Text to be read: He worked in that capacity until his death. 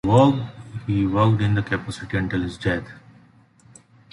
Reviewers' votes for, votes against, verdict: 0, 2, rejected